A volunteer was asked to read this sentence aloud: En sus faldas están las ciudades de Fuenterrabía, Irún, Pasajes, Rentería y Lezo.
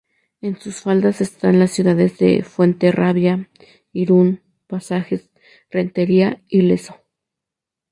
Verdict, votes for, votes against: accepted, 2, 0